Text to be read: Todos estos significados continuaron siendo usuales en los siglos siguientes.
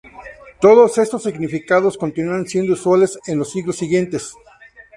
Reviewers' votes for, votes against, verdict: 0, 2, rejected